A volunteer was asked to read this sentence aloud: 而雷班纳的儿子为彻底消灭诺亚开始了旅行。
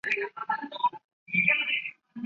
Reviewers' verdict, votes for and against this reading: rejected, 0, 3